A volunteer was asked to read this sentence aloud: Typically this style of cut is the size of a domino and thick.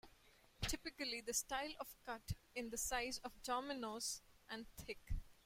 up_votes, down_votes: 1, 2